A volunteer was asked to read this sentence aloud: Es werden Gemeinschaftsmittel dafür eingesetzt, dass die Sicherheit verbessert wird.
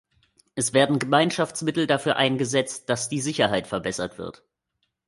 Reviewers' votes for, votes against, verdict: 2, 0, accepted